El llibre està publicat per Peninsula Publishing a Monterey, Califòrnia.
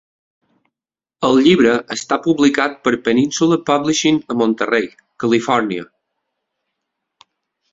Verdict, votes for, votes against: accepted, 2, 0